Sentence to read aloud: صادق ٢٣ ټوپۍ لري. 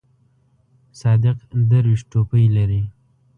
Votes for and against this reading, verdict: 0, 2, rejected